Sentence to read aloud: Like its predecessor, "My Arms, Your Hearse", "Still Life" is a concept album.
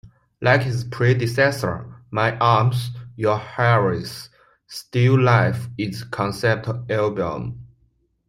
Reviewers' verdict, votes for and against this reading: accepted, 2, 1